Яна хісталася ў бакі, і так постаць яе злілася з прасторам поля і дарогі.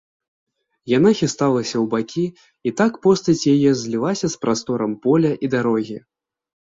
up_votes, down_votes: 2, 0